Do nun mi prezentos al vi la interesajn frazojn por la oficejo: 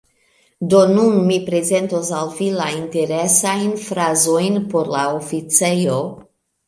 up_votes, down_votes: 2, 1